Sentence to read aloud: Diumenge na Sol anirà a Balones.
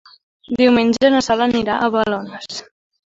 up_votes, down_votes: 2, 0